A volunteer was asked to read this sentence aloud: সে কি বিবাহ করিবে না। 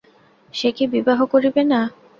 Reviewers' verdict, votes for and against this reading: accepted, 2, 0